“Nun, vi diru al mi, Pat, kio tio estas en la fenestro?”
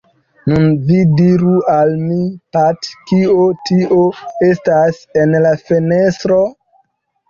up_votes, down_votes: 2, 0